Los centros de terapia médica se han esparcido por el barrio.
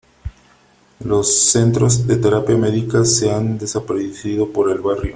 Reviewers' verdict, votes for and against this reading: rejected, 0, 3